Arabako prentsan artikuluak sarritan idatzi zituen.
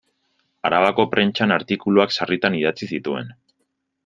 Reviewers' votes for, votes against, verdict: 2, 0, accepted